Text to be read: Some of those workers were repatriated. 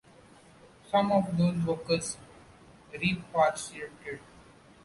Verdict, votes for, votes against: rejected, 0, 2